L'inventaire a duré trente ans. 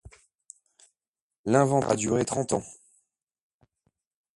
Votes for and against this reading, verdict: 0, 2, rejected